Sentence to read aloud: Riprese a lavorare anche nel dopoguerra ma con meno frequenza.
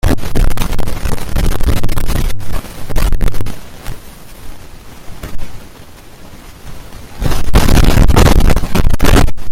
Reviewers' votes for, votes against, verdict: 0, 5, rejected